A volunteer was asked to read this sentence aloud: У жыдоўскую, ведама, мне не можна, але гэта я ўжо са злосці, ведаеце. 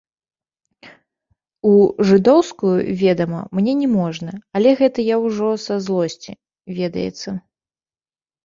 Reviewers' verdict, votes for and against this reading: rejected, 0, 2